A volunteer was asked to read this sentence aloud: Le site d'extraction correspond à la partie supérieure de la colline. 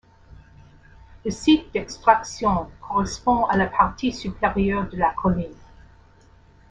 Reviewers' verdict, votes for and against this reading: accepted, 2, 0